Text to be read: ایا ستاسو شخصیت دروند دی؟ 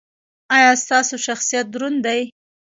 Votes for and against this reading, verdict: 2, 1, accepted